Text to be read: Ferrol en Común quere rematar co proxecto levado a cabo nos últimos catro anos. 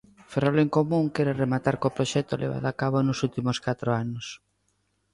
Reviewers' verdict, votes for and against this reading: accepted, 2, 0